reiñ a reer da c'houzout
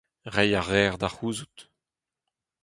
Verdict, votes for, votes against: accepted, 4, 0